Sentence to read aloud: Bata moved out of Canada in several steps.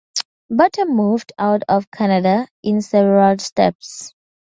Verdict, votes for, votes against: accepted, 2, 0